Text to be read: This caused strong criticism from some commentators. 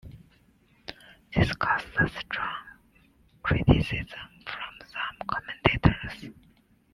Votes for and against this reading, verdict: 1, 2, rejected